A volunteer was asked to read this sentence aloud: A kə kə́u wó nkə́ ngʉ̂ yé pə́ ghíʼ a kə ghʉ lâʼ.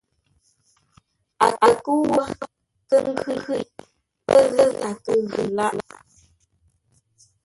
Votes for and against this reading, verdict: 0, 2, rejected